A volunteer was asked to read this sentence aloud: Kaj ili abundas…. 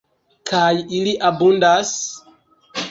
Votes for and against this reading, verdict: 1, 2, rejected